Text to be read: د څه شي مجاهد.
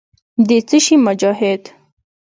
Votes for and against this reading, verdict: 2, 0, accepted